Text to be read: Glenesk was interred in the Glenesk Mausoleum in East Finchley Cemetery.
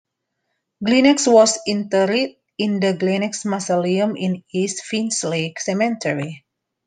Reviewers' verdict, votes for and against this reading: rejected, 0, 2